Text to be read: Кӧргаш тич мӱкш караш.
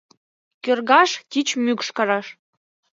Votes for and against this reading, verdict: 2, 0, accepted